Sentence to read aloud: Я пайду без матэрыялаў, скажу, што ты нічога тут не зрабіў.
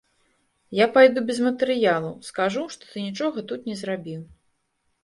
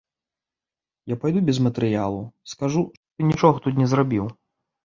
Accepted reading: first